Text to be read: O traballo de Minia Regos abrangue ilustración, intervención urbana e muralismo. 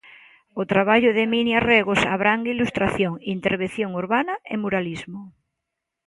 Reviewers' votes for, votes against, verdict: 2, 0, accepted